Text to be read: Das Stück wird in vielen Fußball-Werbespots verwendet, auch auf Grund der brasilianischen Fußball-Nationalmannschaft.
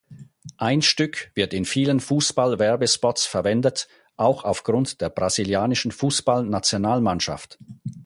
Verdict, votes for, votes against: rejected, 0, 4